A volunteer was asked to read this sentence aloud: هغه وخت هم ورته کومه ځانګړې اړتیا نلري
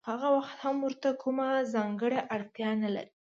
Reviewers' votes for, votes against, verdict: 2, 0, accepted